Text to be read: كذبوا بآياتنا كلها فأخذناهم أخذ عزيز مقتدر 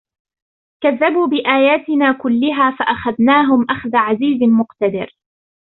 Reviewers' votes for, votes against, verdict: 0, 2, rejected